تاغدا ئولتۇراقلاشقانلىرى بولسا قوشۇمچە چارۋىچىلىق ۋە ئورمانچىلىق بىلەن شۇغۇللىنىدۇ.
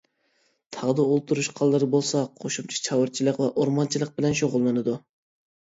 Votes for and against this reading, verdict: 1, 2, rejected